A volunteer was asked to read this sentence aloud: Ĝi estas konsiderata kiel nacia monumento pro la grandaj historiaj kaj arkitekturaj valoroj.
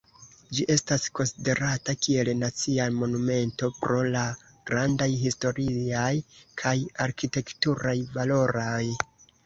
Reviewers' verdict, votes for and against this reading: rejected, 0, 2